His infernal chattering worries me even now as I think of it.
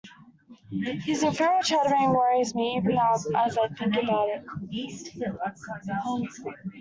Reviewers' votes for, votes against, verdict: 1, 2, rejected